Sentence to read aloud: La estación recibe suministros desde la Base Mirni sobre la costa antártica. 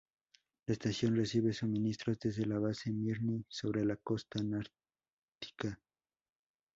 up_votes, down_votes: 0, 2